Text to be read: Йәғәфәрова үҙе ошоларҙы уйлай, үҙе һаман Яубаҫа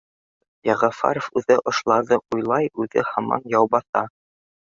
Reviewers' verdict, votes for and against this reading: accepted, 2, 1